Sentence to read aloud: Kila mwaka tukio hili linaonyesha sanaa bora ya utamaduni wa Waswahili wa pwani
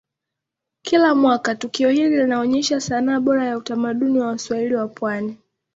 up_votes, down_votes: 2, 1